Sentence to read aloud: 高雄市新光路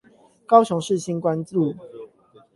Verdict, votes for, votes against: rejected, 0, 8